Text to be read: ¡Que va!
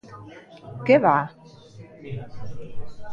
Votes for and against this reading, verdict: 0, 2, rejected